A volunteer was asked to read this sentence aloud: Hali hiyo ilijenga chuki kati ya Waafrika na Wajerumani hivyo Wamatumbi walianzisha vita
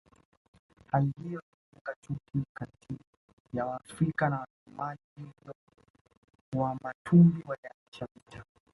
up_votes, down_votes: 1, 2